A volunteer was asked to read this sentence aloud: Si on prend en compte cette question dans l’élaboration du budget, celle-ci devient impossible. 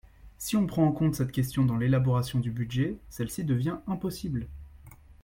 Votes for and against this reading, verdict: 2, 0, accepted